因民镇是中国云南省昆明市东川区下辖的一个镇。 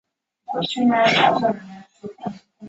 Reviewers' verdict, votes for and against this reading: rejected, 0, 2